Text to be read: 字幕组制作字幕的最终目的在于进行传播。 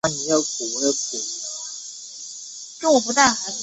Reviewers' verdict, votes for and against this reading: rejected, 0, 2